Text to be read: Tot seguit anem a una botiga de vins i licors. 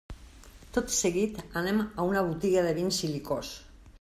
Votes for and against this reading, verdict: 2, 0, accepted